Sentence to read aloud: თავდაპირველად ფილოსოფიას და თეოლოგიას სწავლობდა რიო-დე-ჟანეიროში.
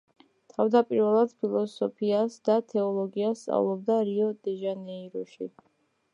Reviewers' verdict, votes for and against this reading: accepted, 2, 0